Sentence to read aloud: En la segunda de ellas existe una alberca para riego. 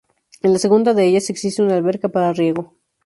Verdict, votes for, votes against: accepted, 2, 0